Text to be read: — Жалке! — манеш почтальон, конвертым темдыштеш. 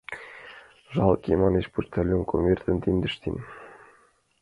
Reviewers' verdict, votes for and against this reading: rejected, 0, 2